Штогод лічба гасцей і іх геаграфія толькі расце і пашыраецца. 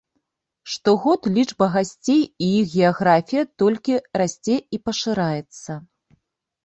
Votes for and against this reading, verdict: 2, 0, accepted